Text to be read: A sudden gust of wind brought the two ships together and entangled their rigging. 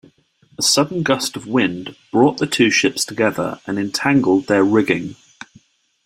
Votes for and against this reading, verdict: 2, 0, accepted